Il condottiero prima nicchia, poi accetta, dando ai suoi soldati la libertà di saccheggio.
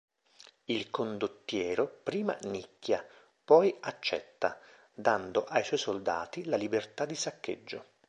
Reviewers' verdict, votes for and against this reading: accepted, 2, 0